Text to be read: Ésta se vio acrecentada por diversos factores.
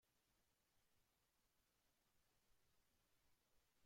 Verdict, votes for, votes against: rejected, 0, 2